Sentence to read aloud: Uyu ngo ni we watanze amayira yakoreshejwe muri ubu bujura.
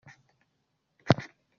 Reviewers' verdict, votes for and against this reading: rejected, 0, 2